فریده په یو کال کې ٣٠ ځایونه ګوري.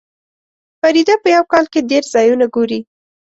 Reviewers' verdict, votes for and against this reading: rejected, 0, 2